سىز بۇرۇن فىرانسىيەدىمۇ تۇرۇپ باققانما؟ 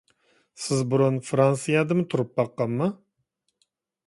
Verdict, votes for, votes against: accepted, 2, 0